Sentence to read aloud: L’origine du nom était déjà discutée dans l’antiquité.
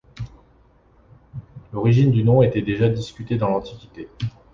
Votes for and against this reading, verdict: 2, 0, accepted